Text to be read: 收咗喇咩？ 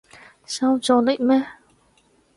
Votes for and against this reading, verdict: 0, 4, rejected